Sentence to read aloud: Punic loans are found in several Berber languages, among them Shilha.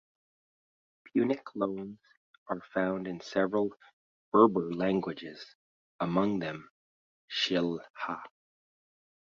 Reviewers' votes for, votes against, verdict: 2, 1, accepted